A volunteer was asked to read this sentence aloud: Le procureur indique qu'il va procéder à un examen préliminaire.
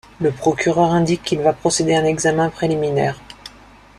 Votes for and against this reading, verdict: 2, 0, accepted